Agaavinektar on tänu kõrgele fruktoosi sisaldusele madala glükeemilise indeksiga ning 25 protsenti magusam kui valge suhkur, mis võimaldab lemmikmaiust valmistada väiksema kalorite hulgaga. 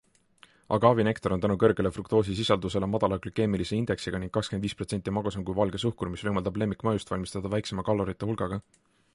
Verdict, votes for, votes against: rejected, 0, 2